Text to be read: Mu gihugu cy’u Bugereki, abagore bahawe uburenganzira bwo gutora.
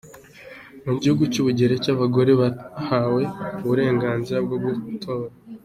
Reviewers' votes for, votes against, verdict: 2, 1, accepted